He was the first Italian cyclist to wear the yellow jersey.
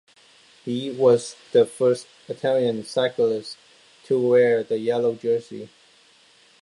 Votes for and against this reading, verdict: 2, 0, accepted